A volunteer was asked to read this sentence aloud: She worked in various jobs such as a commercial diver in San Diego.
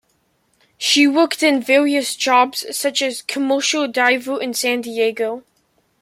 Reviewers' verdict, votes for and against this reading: rejected, 0, 2